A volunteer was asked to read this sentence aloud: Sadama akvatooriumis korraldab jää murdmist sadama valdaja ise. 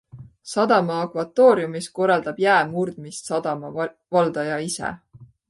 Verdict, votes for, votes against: accepted, 2, 0